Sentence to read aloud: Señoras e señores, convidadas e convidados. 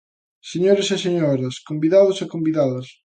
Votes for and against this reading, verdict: 0, 2, rejected